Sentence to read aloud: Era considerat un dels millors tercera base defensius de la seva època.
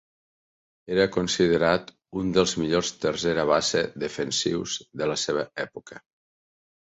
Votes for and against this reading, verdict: 4, 0, accepted